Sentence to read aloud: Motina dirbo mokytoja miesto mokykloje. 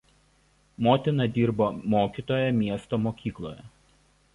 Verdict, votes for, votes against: accepted, 2, 0